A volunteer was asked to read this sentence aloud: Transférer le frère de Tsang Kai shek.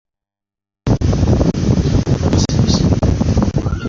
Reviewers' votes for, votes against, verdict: 0, 2, rejected